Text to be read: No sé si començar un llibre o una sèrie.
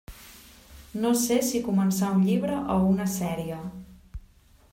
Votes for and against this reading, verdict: 3, 0, accepted